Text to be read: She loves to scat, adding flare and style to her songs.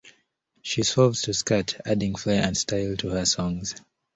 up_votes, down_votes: 0, 2